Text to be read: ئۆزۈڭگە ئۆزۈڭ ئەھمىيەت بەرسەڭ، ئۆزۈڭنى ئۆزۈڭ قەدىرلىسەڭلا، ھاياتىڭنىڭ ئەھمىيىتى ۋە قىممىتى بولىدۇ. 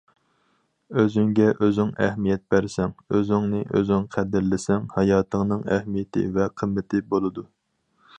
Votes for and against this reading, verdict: 2, 4, rejected